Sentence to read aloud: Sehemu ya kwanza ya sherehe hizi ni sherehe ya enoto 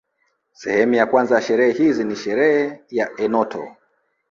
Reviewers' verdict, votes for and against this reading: rejected, 1, 2